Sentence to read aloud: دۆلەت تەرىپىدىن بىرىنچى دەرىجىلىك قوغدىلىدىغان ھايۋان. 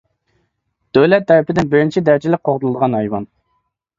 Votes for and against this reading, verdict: 2, 0, accepted